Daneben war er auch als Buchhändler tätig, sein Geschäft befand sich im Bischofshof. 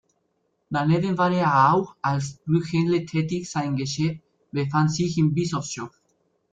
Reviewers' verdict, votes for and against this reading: rejected, 0, 2